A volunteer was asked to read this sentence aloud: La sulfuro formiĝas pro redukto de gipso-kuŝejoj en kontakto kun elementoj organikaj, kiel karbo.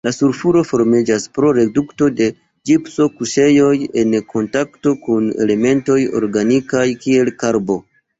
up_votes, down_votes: 0, 2